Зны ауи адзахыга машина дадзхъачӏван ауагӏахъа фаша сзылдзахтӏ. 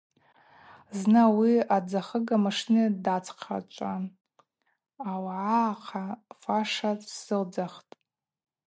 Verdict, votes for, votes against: rejected, 0, 4